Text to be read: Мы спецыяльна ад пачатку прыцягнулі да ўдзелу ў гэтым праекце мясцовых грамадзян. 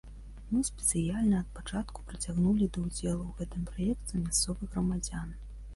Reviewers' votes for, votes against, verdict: 2, 1, accepted